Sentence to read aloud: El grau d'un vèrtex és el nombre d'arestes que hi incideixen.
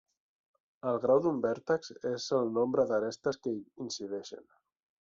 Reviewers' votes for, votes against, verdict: 3, 0, accepted